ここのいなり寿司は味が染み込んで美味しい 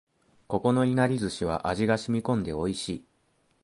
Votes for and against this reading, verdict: 2, 0, accepted